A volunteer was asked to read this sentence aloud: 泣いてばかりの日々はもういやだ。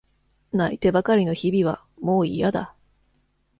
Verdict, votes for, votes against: accepted, 2, 0